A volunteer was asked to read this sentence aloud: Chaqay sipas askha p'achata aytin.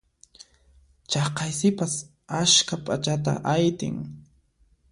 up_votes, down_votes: 2, 0